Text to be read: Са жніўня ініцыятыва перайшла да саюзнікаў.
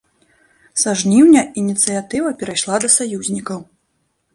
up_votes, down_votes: 0, 2